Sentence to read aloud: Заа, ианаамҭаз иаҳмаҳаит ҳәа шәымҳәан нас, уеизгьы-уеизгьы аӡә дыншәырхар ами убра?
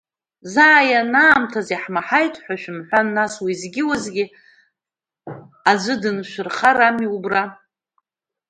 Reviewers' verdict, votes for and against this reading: accepted, 2, 0